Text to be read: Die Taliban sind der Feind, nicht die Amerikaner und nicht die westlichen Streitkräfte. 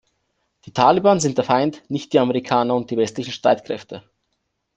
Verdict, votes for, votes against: rejected, 0, 2